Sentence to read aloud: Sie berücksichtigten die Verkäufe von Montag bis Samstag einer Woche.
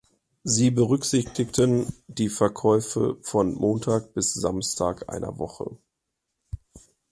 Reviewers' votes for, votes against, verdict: 2, 0, accepted